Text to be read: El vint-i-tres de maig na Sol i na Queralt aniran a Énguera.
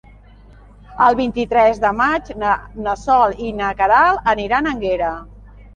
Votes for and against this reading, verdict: 0, 2, rejected